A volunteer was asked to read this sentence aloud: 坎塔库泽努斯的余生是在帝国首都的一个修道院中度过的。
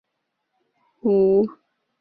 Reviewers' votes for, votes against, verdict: 0, 2, rejected